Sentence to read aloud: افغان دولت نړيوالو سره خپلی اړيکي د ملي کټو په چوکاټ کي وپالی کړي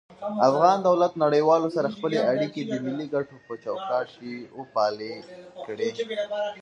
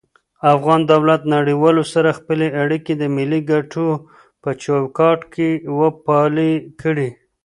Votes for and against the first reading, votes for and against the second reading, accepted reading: 1, 2, 2, 0, second